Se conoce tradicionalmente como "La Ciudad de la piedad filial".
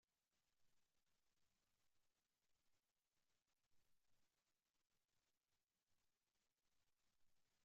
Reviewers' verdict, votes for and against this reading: rejected, 0, 2